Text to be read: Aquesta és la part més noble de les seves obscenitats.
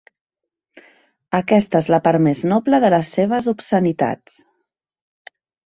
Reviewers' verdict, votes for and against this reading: accepted, 2, 0